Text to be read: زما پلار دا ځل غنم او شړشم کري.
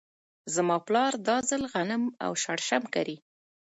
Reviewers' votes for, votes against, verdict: 2, 0, accepted